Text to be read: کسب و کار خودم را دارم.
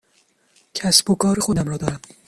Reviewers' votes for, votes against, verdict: 0, 2, rejected